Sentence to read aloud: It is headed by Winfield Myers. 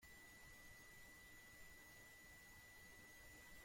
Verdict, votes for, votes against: rejected, 0, 2